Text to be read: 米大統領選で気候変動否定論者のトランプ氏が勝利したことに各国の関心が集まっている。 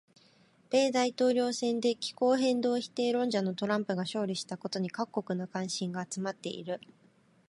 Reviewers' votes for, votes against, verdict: 1, 2, rejected